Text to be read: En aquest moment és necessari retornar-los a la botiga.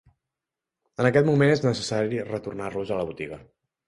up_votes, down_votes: 3, 0